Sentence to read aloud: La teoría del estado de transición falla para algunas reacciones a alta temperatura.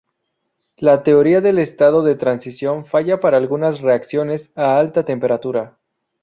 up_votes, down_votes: 0, 2